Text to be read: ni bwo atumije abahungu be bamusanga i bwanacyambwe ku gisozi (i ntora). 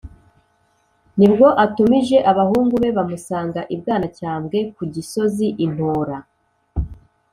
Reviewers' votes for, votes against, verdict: 2, 0, accepted